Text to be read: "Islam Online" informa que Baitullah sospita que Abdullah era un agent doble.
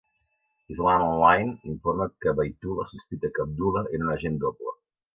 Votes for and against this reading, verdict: 1, 2, rejected